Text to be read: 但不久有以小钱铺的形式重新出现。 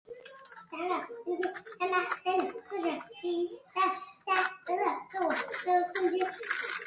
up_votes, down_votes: 0, 3